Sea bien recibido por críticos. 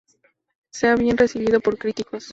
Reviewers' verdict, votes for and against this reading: rejected, 0, 2